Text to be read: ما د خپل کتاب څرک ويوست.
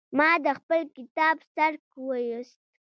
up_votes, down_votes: 2, 0